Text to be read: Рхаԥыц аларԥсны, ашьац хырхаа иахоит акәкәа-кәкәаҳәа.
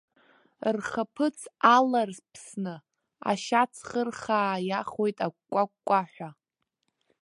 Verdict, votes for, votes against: rejected, 1, 2